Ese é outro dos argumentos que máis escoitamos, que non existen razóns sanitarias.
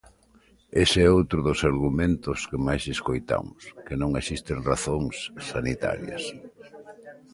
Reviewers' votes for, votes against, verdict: 5, 0, accepted